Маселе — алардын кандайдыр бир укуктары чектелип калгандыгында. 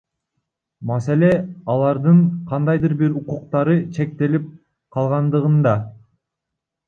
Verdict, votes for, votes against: rejected, 1, 2